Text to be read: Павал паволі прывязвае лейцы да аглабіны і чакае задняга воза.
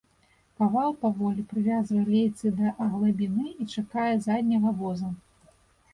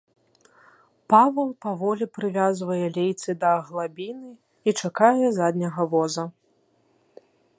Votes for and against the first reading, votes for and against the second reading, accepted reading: 1, 2, 2, 0, second